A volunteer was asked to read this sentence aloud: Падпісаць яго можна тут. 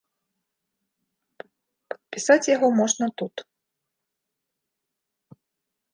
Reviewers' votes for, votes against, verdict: 1, 2, rejected